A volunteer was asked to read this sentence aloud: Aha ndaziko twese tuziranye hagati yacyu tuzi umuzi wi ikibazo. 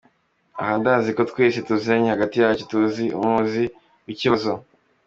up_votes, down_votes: 1, 2